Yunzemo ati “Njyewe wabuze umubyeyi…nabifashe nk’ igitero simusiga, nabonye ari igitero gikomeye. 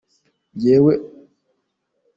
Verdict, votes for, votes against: rejected, 0, 2